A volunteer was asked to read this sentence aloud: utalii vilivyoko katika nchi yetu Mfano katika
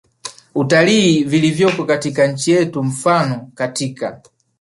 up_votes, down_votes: 4, 1